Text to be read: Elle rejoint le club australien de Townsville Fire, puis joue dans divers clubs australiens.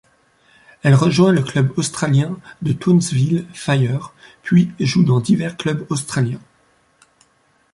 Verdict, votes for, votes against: rejected, 1, 2